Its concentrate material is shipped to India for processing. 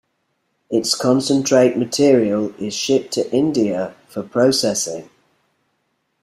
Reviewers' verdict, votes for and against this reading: accepted, 2, 0